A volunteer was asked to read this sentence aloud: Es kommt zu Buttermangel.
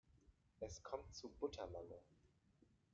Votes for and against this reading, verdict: 1, 2, rejected